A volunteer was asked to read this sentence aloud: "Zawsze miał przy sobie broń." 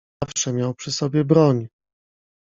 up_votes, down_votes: 0, 2